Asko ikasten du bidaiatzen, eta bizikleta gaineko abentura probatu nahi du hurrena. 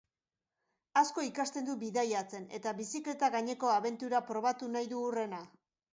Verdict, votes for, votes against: accepted, 2, 0